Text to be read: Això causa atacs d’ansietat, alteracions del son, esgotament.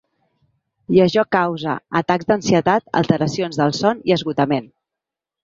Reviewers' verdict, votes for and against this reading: rejected, 1, 2